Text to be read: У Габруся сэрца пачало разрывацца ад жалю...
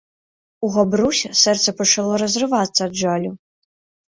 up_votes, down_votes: 2, 0